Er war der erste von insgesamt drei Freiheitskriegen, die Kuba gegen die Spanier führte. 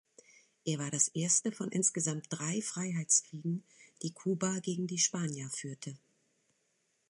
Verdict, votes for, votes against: rejected, 0, 2